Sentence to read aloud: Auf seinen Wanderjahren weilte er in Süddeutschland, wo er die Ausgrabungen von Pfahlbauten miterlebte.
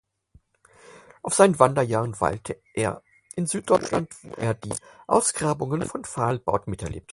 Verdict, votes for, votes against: rejected, 0, 4